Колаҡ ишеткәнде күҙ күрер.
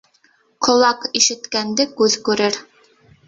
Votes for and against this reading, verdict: 1, 2, rejected